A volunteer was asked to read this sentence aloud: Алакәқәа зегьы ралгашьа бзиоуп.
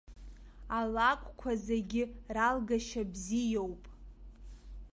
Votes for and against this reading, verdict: 2, 0, accepted